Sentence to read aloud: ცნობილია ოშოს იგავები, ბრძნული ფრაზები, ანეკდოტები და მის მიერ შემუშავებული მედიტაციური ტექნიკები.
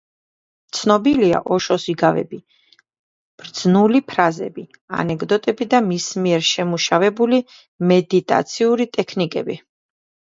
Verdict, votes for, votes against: rejected, 1, 2